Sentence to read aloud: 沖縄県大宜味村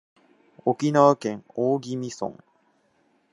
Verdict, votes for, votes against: accepted, 2, 1